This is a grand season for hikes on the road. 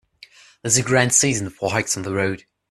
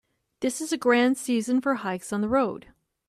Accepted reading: second